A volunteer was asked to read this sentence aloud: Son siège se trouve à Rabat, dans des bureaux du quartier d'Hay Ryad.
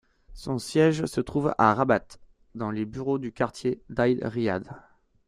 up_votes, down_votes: 1, 2